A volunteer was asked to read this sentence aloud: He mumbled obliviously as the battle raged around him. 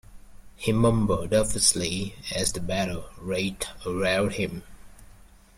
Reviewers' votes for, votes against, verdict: 0, 2, rejected